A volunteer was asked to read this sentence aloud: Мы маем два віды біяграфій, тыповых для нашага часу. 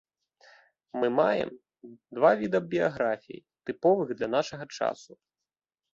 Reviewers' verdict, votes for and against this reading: rejected, 1, 2